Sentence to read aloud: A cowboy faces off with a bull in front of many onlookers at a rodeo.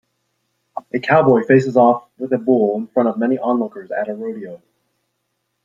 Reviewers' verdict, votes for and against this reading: accepted, 2, 0